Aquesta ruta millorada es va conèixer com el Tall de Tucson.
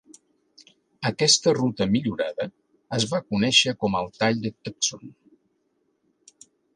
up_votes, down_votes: 2, 0